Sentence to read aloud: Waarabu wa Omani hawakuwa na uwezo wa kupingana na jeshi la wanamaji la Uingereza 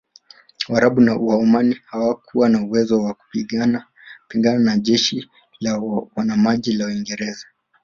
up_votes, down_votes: 0, 3